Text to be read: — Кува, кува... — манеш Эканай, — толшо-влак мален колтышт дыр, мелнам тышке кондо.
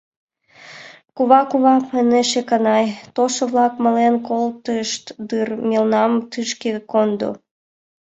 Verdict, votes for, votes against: accepted, 2, 0